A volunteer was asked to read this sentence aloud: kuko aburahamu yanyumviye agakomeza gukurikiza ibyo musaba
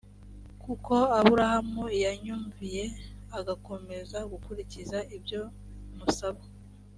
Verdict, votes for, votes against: accepted, 2, 0